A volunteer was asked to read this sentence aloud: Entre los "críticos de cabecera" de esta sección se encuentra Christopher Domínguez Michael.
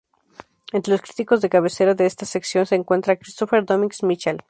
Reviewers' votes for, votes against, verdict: 2, 2, rejected